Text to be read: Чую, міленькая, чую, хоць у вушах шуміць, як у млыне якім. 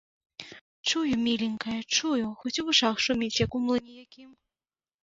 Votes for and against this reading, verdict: 1, 2, rejected